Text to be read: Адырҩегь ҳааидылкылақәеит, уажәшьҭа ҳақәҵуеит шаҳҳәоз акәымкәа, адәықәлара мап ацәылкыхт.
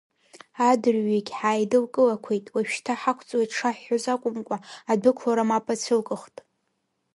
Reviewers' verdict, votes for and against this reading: accepted, 2, 0